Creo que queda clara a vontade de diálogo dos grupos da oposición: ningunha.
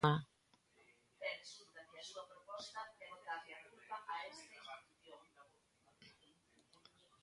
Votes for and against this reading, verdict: 0, 2, rejected